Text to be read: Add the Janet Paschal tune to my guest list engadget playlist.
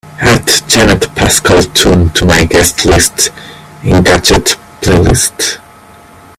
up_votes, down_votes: 0, 2